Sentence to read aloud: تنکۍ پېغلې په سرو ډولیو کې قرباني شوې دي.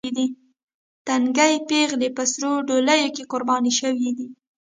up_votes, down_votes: 1, 2